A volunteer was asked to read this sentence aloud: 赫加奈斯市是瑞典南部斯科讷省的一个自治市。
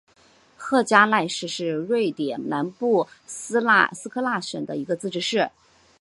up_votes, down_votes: 1, 3